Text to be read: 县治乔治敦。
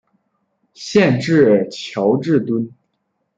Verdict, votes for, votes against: accepted, 2, 0